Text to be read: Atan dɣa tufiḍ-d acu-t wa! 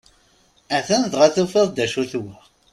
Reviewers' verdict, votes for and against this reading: accepted, 2, 0